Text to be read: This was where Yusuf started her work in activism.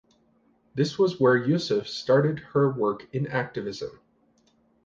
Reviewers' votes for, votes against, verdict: 2, 0, accepted